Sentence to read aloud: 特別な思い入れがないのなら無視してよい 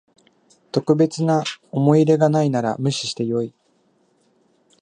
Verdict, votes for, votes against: rejected, 1, 2